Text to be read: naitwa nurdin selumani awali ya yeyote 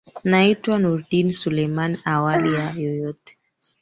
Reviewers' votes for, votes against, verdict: 1, 3, rejected